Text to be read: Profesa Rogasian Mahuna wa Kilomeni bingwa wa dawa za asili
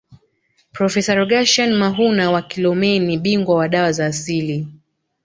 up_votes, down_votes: 2, 0